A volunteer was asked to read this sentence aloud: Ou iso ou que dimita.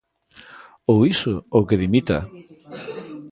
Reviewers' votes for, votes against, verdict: 2, 1, accepted